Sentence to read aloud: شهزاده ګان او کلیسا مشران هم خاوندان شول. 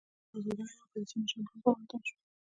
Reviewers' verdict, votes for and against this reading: accepted, 2, 0